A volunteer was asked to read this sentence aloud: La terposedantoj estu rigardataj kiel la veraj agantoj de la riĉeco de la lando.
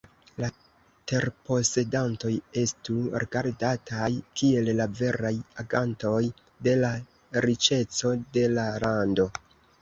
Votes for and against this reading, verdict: 2, 1, accepted